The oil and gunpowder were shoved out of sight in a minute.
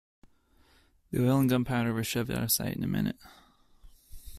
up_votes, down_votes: 1, 2